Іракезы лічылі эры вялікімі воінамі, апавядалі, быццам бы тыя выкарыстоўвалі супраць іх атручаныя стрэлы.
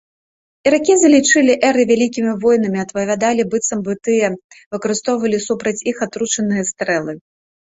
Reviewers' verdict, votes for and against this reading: rejected, 1, 2